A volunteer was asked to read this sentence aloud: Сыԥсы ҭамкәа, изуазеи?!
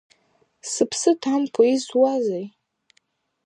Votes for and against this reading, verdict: 2, 0, accepted